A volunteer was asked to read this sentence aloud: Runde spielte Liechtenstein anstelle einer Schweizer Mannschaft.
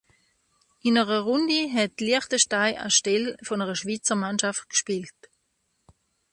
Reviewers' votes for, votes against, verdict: 0, 2, rejected